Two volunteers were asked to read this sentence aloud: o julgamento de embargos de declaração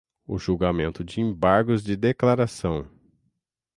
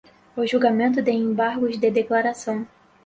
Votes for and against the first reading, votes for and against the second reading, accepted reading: 3, 3, 4, 0, second